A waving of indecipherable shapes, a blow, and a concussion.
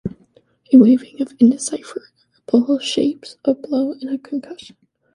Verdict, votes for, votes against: rejected, 0, 2